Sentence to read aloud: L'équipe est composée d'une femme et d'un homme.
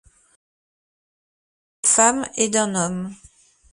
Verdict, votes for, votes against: rejected, 0, 2